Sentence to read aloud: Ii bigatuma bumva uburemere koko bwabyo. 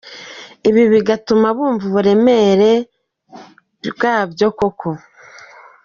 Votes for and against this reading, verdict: 1, 2, rejected